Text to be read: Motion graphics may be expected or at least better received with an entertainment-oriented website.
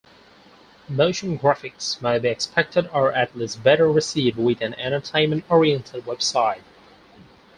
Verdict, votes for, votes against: accepted, 4, 0